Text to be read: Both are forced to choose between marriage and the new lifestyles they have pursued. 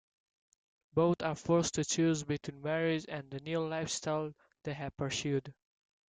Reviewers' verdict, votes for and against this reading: accepted, 3, 2